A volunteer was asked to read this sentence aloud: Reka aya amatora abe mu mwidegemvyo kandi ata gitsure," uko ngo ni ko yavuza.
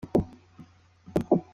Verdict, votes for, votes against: rejected, 0, 2